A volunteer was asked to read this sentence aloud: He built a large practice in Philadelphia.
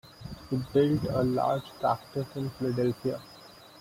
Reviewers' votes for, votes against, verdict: 2, 1, accepted